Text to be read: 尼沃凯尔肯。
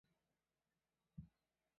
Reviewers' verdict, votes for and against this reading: rejected, 0, 2